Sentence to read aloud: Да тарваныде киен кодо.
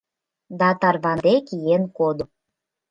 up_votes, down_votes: 0, 2